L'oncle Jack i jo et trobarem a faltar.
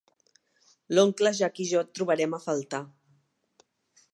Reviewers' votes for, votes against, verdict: 2, 0, accepted